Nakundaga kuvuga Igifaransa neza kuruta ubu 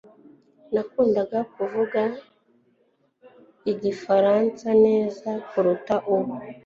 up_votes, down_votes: 2, 0